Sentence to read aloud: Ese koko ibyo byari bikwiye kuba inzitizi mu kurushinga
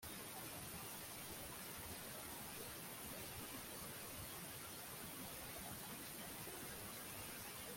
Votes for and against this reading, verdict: 1, 2, rejected